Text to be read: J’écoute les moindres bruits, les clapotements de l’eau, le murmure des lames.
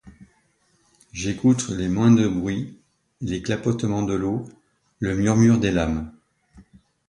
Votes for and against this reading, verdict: 2, 0, accepted